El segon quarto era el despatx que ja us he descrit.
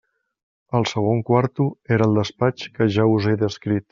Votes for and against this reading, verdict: 3, 0, accepted